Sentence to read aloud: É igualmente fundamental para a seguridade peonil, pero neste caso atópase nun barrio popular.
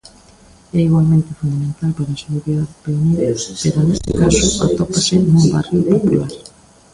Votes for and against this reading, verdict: 0, 2, rejected